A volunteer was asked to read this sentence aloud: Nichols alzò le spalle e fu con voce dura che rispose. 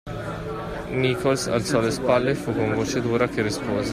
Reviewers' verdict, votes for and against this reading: rejected, 1, 2